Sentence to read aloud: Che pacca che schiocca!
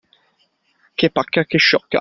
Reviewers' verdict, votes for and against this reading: rejected, 0, 2